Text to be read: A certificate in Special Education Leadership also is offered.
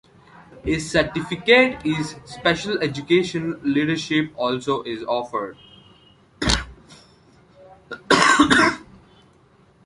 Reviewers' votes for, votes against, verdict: 1, 2, rejected